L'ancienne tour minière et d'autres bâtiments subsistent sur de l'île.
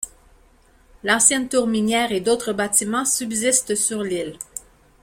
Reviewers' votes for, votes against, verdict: 1, 2, rejected